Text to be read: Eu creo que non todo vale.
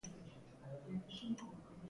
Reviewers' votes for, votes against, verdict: 0, 2, rejected